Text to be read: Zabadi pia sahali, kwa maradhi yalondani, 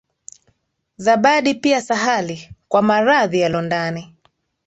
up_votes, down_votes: 2, 0